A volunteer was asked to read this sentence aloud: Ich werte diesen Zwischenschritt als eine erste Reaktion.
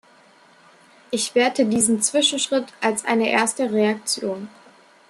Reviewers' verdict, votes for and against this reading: accepted, 2, 0